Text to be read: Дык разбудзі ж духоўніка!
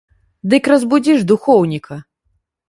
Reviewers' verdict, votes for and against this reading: accepted, 2, 0